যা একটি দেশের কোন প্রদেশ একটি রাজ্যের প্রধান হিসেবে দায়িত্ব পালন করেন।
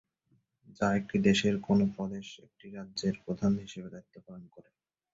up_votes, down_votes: 2, 0